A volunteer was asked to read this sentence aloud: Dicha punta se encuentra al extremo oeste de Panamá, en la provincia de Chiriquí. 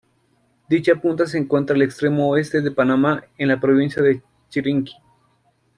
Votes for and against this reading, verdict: 1, 2, rejected